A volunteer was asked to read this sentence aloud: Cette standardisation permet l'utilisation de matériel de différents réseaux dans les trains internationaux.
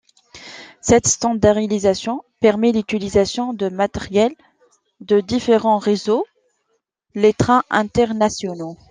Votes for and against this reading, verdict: 0, 2, rejected